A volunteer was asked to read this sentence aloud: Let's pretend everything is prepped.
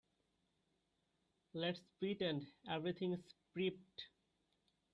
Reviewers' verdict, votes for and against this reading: rejected, 0, 2